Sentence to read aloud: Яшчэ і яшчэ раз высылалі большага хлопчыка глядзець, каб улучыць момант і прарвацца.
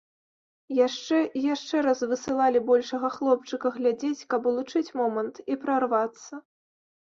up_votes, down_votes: 2, 0